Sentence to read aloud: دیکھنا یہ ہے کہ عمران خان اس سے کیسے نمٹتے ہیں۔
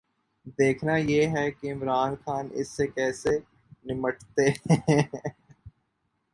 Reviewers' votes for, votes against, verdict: 5, 1, accepted